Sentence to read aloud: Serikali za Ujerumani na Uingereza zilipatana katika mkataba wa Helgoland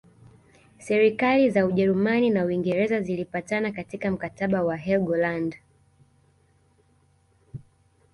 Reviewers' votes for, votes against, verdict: 2, 1, accepted